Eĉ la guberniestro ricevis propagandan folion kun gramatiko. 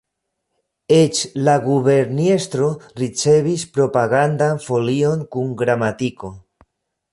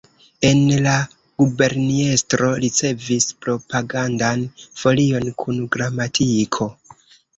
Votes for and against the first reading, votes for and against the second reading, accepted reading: 2, 0, 0, 2, first